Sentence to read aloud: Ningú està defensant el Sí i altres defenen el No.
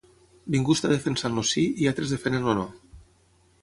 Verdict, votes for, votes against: accepted, 6, 3